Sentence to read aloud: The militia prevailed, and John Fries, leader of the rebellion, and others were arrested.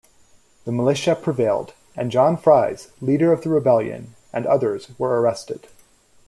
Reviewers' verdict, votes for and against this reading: accepted, 2, 0